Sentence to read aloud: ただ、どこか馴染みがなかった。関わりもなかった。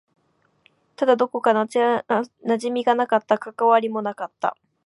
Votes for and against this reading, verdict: 1, 2, rejected